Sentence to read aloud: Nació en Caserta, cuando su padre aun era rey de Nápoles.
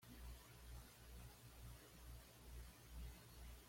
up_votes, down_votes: 1, 2